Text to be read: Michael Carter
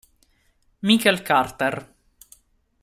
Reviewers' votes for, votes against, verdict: 1, 2, rejected